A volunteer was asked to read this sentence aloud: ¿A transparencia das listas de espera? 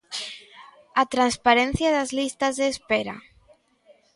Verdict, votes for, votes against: rejected, 0, 2